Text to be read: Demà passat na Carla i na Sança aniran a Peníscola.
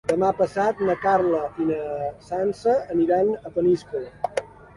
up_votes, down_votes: 2, 0